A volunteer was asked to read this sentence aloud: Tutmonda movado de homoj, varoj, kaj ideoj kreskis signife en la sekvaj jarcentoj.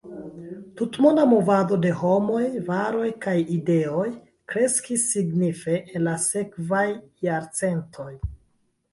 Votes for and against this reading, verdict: 0, 2, rejected